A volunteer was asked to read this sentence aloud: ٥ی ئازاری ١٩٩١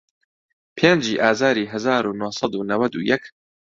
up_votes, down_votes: 0, 2